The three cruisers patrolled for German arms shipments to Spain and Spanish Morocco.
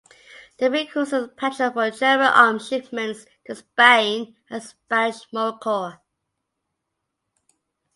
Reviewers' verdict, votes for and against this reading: rejected, 0, 2